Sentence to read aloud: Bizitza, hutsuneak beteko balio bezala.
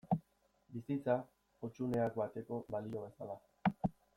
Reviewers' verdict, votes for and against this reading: rejected, 0, 2